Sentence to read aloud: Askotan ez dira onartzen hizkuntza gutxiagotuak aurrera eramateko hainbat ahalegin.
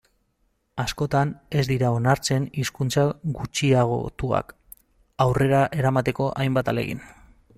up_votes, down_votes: 0, 2